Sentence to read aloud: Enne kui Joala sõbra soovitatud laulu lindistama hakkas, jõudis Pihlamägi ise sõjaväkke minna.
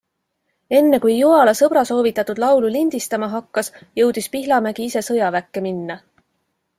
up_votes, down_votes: 3, 0